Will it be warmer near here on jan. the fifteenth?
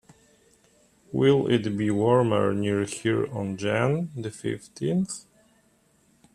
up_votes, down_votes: 2, 1